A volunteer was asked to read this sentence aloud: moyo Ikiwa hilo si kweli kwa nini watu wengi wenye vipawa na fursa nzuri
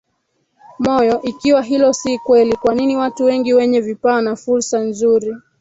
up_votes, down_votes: 1, 3